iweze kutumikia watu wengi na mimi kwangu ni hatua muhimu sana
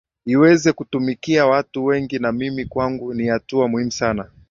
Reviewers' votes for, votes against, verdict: 4, 3, accepted